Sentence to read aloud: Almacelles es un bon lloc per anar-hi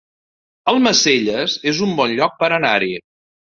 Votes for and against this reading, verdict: 2, 1, accepted